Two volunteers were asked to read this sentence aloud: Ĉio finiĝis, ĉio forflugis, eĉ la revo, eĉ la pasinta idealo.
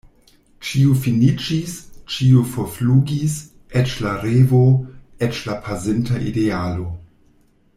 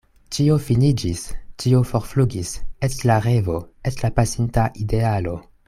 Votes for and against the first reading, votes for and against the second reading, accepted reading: 1, 2, 2, 0, second